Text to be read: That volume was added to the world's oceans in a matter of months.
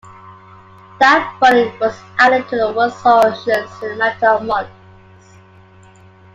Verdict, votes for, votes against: accepted, 2, 0